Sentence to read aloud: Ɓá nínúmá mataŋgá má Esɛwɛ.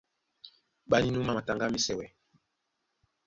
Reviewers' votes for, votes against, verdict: 1, 2, rejected